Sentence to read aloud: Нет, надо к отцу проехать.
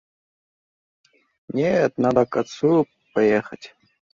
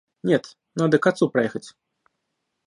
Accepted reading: second